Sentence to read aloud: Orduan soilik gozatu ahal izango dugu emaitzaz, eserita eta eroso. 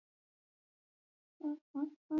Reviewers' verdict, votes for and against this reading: rejected, 0, 4